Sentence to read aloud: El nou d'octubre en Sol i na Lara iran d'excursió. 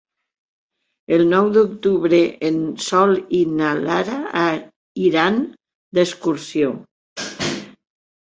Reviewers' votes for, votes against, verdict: 0, 2, rejected